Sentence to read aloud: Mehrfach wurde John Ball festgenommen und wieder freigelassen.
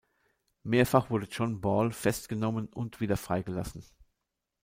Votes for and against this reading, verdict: 2, 0, accepted